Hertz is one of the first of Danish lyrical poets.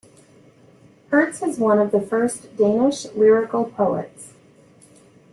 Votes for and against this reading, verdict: 1, 2, rejected